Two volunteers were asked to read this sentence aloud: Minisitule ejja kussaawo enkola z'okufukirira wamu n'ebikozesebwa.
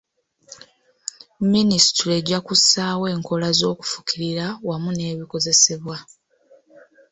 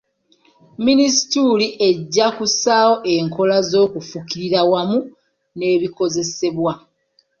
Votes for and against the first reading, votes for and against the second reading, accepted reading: 2, 0, 1, 2, first